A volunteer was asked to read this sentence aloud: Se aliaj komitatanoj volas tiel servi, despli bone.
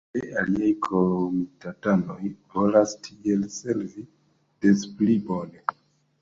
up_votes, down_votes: 0, 2